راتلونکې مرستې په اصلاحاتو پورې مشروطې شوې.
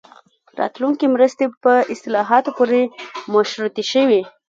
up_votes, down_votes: 1, 2